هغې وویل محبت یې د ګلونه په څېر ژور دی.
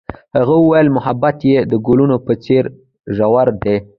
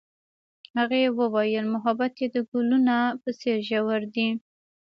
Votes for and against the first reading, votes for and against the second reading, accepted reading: 0, 3, 2, 0, second